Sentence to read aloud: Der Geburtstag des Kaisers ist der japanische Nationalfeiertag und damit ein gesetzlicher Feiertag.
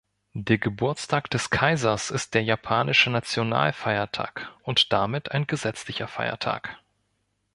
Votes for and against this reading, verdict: 2, 0, accepted